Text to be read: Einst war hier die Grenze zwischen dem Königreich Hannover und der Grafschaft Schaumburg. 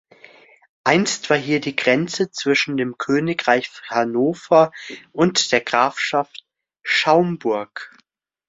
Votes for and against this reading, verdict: 2, 0, accepted